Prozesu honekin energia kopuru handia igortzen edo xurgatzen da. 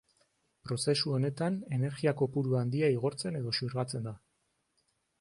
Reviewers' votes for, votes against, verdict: 0, 2, rejected